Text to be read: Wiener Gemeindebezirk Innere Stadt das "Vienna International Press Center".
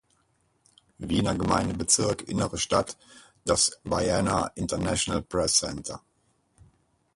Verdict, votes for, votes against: rejected, 2, 4